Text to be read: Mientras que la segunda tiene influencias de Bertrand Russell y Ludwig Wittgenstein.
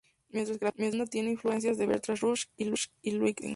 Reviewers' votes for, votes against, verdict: 0, 2, rejected